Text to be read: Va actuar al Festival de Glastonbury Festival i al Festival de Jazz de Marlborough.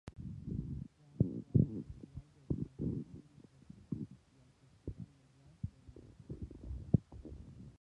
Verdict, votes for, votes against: rejected, 0, 6